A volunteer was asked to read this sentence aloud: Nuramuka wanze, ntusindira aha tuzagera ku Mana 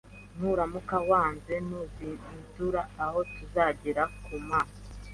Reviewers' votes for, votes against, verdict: 2, 1, accepted